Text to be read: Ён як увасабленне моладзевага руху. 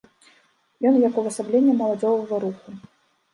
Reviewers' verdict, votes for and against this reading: rejected, 0, 3